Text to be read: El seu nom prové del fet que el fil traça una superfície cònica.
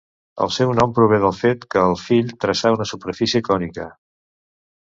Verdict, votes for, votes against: rejected, 1, 2